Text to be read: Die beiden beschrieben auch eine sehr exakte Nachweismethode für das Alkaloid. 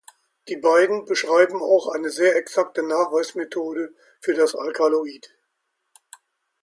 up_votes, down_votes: 1, 2